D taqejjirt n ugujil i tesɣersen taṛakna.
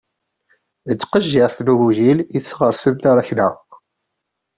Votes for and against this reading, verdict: 1, 2, rejected